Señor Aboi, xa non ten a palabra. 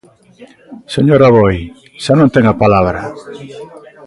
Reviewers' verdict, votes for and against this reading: accepted, 2, 0